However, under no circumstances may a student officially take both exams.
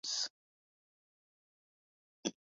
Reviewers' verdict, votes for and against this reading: rejected, 0, 2